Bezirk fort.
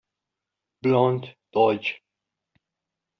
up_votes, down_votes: 0, 2